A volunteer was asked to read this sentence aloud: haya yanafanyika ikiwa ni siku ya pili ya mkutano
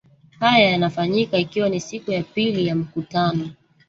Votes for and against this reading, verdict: 1, 2, rejected